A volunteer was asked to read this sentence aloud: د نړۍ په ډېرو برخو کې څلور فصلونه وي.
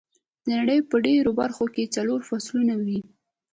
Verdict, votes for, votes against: rejected, 1, 2